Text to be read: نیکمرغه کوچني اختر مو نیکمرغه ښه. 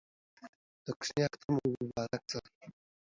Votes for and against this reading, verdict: 0, 2, rejected